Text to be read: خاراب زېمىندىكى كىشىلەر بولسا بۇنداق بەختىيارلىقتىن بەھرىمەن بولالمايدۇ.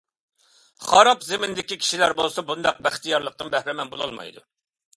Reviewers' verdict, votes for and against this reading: accepted, 2, 0